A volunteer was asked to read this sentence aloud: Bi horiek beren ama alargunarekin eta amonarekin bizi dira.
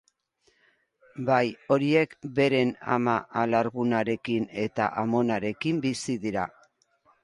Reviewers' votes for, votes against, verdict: 0, 2, rejected